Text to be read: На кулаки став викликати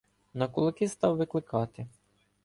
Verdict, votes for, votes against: accepted, 2, 0